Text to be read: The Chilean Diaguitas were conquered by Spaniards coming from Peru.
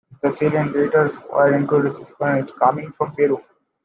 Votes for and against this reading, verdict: 1, 2, rejected